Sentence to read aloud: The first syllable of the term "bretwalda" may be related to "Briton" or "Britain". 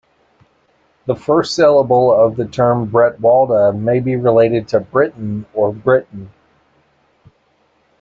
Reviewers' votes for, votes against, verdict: 2, 1, accepted